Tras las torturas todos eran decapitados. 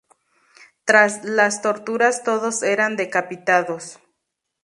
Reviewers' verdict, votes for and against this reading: accepted, 2, 0